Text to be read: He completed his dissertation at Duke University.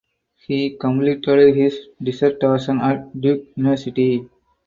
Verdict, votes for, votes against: rejected, 0, 4